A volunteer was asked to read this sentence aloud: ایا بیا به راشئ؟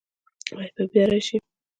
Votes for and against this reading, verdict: 0, 2, rejected